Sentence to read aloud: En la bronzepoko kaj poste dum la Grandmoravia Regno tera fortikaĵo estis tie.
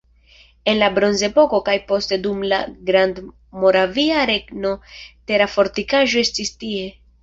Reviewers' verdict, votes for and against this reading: accepted, 2, 0